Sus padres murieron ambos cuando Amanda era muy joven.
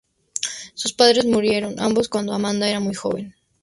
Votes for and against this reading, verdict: 2, 0, accepted